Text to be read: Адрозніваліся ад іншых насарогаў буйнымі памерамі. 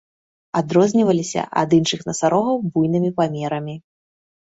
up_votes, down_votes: 1, 2